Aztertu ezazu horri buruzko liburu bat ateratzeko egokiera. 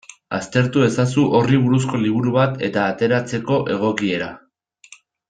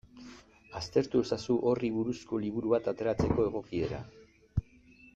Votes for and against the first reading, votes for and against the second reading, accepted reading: 0, 2, 2, 0, second